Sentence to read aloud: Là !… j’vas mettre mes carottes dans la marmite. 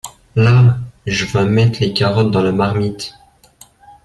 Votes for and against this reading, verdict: 2, 0, accepted